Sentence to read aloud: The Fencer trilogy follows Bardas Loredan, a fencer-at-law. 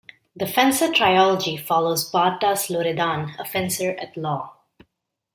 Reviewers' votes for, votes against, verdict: 2, 0, accepted